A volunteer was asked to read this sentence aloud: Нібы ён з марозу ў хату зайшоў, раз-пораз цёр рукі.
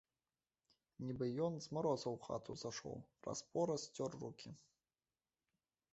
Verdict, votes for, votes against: rejected, 1, 2